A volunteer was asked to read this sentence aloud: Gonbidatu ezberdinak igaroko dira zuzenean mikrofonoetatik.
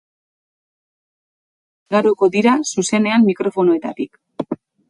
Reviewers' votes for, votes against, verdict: 0, 4, rejected